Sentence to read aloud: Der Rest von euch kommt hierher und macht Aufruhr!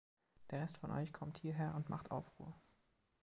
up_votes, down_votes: 2, 0